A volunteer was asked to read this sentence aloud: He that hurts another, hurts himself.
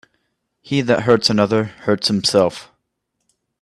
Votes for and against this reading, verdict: 2, 0, accepted